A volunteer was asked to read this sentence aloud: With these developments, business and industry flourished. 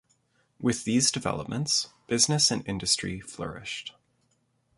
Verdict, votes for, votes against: rejected, 1, 2